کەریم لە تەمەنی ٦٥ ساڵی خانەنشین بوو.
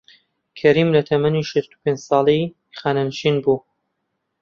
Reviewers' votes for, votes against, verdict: 0, 2, rejected